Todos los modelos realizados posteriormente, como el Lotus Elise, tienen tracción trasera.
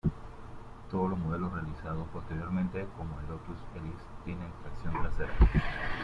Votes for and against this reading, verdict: 1, 2, rejected